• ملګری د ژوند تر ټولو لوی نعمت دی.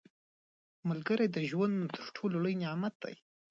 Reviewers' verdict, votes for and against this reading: accepted, 3, 0